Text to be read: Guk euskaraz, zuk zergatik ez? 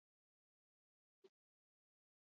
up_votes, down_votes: 0, 2